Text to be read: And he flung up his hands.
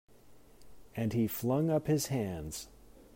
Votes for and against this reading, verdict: 2, 0, accepted